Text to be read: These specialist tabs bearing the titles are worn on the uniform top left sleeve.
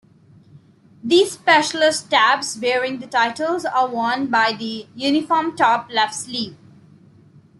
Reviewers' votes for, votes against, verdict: 1, 2, rejected